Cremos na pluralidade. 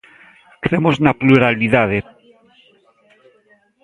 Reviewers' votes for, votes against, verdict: 1, 2, rejected